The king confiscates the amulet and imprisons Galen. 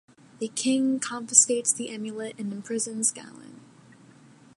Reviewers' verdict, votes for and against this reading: accepted, 2, 0